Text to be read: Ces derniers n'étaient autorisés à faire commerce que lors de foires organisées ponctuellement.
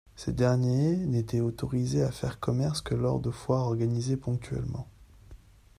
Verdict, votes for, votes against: rejected, 1, 2